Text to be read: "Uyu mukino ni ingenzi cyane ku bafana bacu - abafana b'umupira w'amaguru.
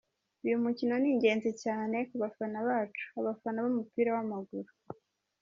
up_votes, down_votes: 1, 2